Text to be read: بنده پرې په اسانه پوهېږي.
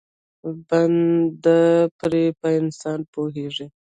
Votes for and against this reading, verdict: 1, 2, rejected